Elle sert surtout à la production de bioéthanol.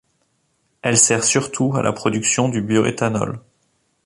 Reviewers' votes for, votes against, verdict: 1, 2, rejected